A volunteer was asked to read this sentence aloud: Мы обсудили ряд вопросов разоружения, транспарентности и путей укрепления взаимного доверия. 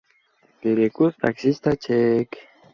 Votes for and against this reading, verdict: 0, 2, rejected